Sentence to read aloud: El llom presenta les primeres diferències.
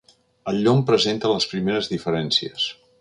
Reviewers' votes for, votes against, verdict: 4, 0, accepted